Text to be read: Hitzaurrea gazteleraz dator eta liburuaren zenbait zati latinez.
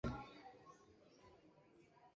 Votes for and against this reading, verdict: 0, 2, rejected